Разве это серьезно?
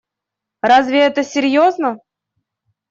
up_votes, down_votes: 2, 0